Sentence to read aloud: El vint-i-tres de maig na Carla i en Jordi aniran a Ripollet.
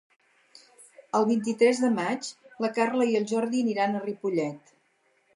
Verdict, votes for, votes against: rejected, 2, 4